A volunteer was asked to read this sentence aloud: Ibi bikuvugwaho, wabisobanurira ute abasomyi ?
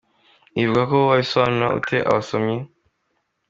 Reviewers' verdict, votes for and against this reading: accepted, 2, 1